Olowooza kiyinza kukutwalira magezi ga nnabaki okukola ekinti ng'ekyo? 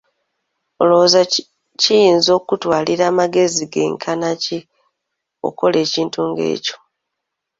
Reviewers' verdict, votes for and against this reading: rejected, 1, 2